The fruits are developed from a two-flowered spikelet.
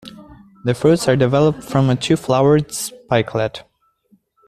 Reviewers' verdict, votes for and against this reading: accepted, 2, 1